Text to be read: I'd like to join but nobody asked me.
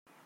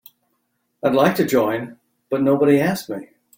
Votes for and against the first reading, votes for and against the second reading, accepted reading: 0, 2, 2, 0, second